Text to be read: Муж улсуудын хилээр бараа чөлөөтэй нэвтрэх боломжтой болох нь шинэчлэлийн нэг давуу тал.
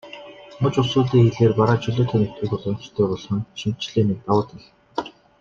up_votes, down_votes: 1, 2